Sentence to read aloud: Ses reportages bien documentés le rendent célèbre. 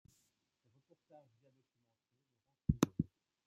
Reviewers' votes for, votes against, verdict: 0, 2, rejected